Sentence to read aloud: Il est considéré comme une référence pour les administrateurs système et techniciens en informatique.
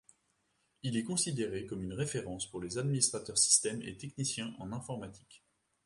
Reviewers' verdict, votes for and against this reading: accepted, 2, 0